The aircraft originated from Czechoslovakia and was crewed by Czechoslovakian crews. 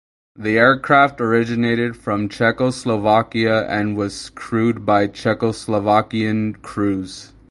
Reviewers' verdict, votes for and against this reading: accepted, 4, 0